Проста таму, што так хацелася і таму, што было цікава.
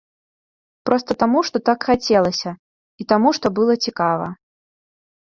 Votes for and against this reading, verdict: 1, 2, rejected